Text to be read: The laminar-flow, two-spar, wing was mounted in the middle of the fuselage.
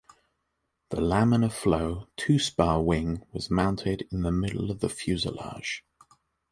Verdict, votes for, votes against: accepted, 2, 0